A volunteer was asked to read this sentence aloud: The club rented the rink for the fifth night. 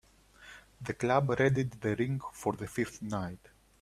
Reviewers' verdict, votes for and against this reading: rejected, 1, 2